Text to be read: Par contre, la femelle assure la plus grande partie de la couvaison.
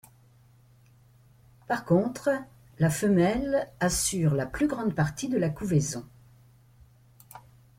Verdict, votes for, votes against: accepted, 2, 0